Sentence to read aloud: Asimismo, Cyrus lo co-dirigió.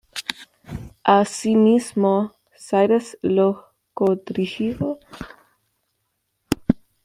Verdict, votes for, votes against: rejected, 1, 2